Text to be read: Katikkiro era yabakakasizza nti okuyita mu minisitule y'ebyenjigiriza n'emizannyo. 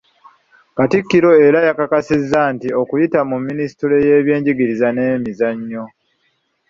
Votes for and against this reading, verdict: 1, 2, rejected